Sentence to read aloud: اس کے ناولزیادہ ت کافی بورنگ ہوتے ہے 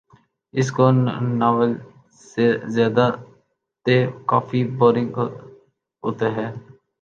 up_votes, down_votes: 1, 3